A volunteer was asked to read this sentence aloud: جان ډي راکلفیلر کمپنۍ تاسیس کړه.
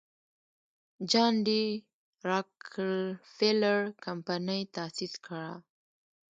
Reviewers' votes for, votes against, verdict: 1, 2, rejected